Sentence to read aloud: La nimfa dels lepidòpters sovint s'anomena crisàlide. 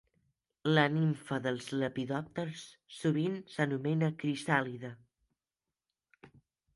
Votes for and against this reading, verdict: 2, 0, accepted